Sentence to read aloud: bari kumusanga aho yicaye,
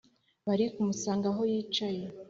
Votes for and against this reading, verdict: 2, 0, accepted